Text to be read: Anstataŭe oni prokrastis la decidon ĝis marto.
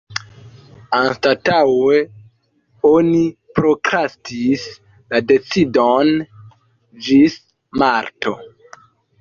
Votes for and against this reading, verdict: 1, 2, rejected